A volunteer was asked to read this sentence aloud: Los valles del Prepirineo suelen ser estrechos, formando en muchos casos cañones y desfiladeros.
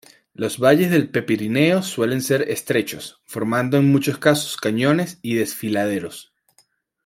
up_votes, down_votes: 2, 0